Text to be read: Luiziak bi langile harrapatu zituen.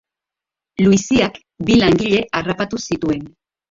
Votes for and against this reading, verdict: 2, 1, accepted